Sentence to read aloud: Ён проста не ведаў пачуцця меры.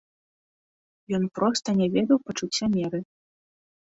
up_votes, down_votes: 2, 0